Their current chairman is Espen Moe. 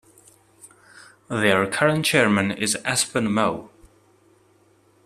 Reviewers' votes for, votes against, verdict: 2, 0, accepted